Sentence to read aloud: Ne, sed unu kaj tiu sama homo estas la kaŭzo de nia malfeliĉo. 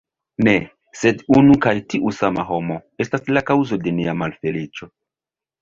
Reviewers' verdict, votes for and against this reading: rejected, 0, 2